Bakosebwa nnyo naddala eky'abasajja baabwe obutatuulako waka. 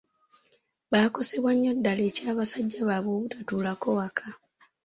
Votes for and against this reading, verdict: 2, 0, accepted